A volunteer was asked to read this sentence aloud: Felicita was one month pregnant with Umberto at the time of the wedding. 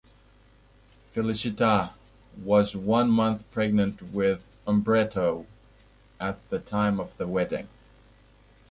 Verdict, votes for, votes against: rejected, 0, 2